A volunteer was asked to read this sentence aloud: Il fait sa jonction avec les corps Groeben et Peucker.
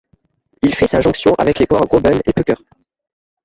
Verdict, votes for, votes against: rejected, 1, 2